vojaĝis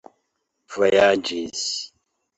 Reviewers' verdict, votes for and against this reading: accepted, 2, 0